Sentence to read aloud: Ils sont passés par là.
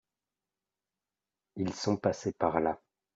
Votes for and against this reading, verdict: 2, 0, accepted